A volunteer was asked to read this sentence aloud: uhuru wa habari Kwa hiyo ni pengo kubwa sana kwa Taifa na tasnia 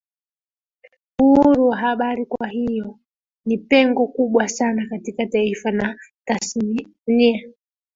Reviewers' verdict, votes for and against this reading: rejected, 0, 2